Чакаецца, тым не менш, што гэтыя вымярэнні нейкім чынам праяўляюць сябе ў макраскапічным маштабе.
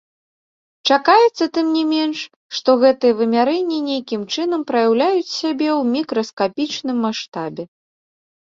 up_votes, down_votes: 0, 2